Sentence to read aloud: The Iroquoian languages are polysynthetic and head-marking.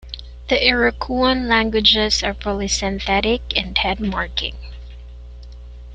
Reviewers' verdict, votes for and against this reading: accepted, 2, 1